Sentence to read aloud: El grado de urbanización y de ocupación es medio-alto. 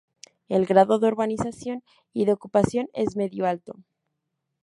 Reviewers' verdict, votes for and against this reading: accepted, 2, 0